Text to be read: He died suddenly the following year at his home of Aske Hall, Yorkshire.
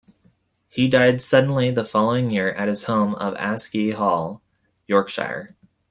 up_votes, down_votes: 2, 0